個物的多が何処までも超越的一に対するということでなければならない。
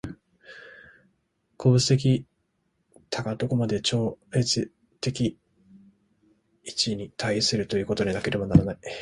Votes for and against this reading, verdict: 2, 0, accepted